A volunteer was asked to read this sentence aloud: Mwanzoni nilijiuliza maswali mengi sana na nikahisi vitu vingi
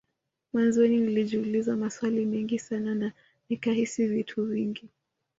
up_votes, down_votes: 2, 0